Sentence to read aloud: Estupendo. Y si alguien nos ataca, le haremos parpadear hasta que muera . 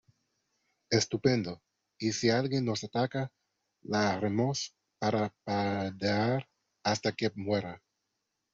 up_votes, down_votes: 0, 2